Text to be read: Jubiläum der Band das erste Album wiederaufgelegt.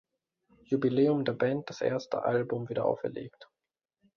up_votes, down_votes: 2, 1